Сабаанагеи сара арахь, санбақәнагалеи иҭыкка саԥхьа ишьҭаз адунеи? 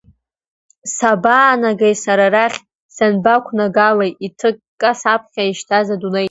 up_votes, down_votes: 2, 0